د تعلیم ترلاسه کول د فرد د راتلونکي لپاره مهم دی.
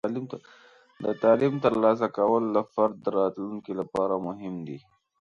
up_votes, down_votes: 2, 0